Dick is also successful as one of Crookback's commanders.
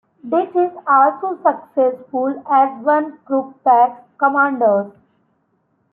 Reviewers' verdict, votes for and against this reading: rejected, 0, 3